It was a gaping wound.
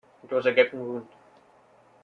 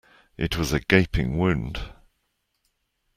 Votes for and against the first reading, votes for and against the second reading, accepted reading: 0, 2, 2, 0, second